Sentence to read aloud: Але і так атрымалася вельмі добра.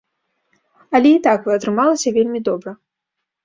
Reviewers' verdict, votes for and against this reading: rejected, 0, 2